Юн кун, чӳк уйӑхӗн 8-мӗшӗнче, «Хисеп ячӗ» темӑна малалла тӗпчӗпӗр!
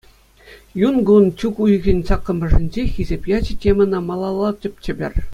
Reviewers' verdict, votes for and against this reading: rejected, 0, 2